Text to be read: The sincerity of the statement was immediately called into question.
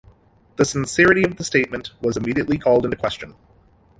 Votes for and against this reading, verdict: 2, 0, accepted